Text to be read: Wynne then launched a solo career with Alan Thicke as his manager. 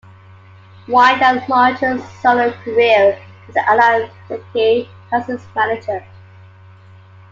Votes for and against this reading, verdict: 2, 1, accepted